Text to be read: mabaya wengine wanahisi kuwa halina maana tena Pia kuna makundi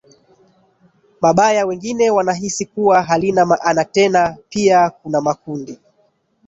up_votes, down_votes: 1, 2